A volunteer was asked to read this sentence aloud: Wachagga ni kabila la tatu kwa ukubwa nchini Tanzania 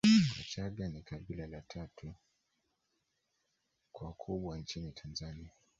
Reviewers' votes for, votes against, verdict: 1, 2, rejected